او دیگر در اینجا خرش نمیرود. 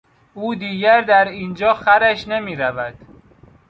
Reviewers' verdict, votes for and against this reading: accepted, 2, 0